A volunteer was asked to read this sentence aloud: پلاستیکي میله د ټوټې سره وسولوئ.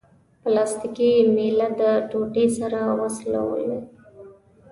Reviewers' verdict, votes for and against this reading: rejected, 0, 2